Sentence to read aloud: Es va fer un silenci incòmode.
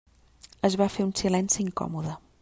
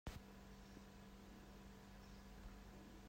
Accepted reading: first